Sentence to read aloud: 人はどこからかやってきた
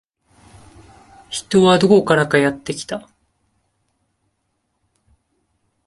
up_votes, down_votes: 2, 0